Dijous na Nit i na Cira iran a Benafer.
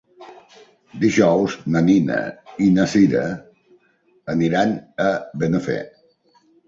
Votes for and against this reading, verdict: 0, 2, rejected